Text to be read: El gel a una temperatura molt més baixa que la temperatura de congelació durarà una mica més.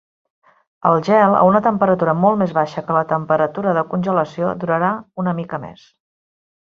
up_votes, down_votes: 3, 1